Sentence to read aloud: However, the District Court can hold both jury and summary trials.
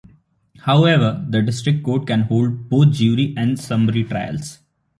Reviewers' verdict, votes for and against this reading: accepted, 3, 2